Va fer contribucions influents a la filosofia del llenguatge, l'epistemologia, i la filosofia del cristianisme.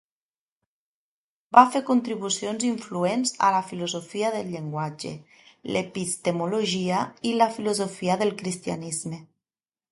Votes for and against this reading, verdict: 2, 0, accepted